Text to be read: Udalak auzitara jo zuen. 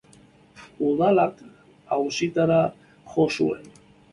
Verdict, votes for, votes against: accepted, 3, 1